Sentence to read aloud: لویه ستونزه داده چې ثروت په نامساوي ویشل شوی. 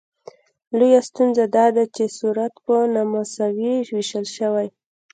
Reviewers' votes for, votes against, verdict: 1, 2, rejected